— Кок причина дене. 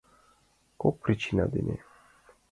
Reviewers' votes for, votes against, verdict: 2, 0, accepted